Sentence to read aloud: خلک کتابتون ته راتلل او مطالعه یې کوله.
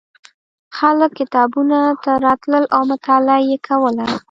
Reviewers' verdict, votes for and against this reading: rejected, 0, 2